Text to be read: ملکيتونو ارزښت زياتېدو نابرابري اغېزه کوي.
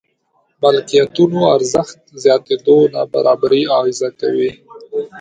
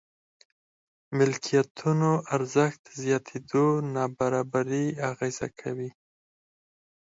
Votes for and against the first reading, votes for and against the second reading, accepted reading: 1, 2, 4, 0, second